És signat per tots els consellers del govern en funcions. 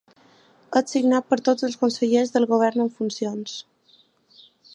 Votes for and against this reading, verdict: 2, 0, accepted